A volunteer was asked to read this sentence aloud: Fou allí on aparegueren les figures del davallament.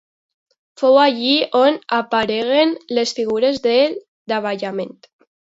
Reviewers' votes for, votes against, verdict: 0, 2, rejected